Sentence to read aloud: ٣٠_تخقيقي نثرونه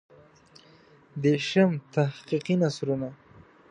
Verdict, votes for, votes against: rejected, 0, 2